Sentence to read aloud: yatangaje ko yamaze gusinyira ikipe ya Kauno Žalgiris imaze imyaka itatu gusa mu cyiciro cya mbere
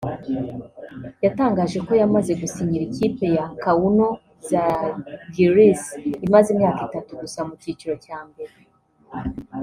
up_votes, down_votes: 1, 2